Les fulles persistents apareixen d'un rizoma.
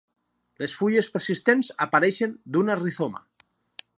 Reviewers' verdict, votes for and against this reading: rejected, 2, 2